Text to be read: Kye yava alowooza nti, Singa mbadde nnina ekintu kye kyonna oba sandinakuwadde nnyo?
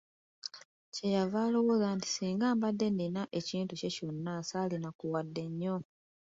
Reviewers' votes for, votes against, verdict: 0, 2, rejected